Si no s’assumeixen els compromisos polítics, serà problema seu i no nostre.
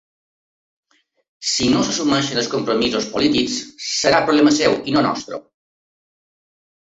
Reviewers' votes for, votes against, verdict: 1, 2, rejected